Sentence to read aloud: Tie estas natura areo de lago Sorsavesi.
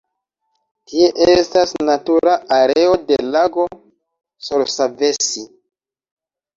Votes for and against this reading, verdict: 1, 2, rejected